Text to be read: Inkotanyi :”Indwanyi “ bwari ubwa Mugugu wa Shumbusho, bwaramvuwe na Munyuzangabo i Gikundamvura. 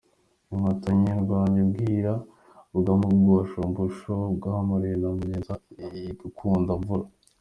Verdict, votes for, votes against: rejected, 0, 2